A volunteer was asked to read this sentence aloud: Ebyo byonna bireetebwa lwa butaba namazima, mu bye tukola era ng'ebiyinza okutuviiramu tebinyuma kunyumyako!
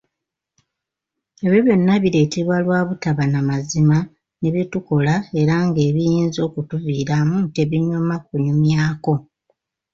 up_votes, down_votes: 1, 2